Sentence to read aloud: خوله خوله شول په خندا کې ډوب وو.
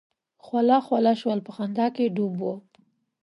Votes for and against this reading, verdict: 2, 0, accepted